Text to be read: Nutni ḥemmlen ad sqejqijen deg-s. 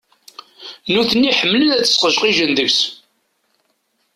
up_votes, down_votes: 2, 0